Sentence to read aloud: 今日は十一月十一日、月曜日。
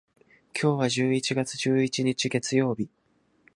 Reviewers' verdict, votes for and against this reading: accepted, 2, 0